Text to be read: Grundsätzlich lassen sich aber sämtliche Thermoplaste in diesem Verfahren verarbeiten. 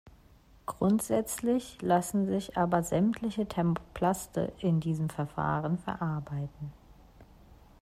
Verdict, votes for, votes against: accepted, 2, 1